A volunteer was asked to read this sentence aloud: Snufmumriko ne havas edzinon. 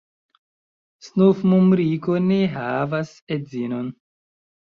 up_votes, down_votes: 2, 1